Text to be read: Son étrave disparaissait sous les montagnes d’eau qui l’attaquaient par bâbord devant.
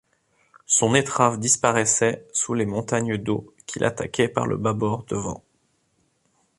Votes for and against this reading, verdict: 1, 2, rejected